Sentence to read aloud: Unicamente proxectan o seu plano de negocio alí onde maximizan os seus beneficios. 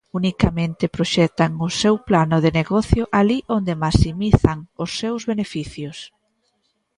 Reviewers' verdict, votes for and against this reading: accepted, 2, 1